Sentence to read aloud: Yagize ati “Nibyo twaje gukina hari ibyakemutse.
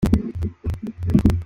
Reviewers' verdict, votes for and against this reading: rejected, 0, 2